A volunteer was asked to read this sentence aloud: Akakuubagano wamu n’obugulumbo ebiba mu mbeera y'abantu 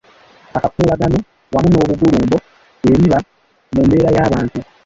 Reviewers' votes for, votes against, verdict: 1, 2, rejected